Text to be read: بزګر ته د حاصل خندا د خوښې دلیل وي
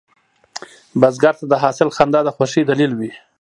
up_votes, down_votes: 1, 2